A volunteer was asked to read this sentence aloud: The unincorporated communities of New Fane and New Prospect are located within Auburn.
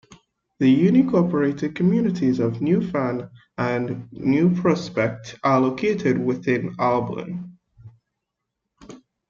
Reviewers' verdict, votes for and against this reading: rejected, 1, 2